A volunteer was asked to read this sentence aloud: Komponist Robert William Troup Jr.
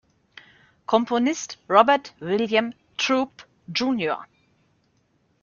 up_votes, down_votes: 1, 2